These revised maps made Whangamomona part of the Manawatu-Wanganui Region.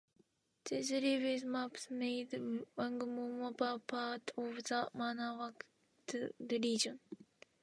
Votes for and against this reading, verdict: 0, 9, rejected